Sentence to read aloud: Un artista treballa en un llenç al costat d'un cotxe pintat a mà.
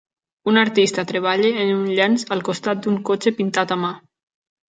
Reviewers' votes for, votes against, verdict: 2, 0, accepted